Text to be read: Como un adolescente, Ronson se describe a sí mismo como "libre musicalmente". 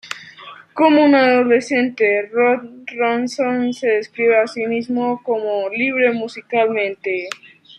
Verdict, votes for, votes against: rejected, 0, 2